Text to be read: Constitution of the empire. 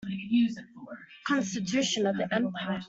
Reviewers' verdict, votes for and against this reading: accepted, 2, 1